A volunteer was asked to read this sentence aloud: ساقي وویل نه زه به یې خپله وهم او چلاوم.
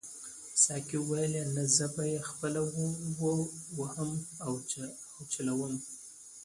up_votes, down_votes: 0, 2